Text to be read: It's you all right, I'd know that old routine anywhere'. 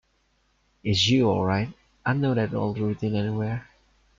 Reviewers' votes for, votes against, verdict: 1, 2, rejected